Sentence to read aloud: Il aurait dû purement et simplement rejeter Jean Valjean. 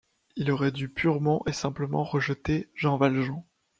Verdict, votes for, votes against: rejected, 1, 2